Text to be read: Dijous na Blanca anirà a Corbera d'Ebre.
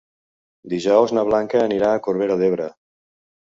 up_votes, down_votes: 3, 0